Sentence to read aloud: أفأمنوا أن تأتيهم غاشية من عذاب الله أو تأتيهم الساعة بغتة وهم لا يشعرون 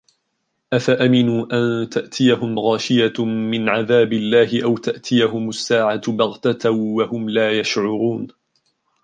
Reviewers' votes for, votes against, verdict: 1, 2, rejected